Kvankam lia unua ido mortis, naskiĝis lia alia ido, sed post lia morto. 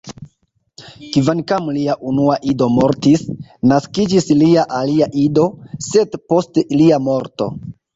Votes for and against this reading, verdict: 2, 0, accepted